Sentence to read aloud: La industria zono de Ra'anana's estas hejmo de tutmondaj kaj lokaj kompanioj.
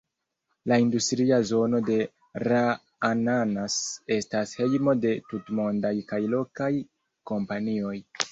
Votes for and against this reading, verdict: 0, 2, rejected